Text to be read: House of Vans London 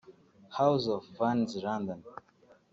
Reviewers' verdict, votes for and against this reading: rejected, 1, 2